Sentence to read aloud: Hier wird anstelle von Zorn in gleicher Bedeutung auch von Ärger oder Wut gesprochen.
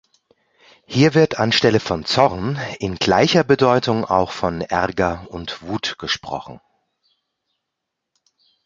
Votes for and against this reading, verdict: 2, 1, accepted